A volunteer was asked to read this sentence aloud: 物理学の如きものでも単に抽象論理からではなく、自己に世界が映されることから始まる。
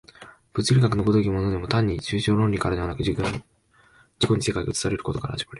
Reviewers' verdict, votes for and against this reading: rejected, 2, 3